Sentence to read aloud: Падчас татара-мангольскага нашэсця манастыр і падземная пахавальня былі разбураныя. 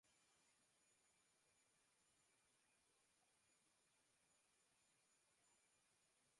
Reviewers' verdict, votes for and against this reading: rejected, 0, 3